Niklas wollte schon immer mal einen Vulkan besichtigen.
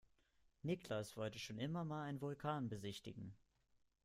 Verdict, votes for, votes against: accepted, 2, 1